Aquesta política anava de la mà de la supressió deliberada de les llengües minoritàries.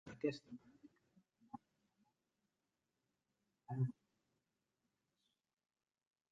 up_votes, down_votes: 0, 2